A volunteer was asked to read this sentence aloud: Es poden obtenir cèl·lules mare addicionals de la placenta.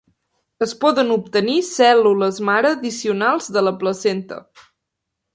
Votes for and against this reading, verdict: 2, 0, accepted